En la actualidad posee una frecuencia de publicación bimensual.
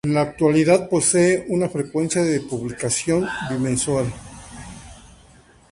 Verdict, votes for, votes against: accepted, 2, 0